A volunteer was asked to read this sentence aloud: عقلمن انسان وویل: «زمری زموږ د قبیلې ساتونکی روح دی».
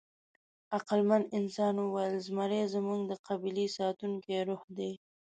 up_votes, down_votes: 2, 0